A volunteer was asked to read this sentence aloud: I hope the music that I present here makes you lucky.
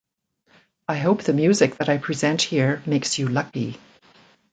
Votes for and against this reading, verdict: 2, 0, accepted